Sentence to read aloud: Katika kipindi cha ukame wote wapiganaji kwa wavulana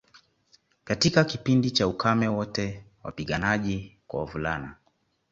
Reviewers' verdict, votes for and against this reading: accepted, 2, 0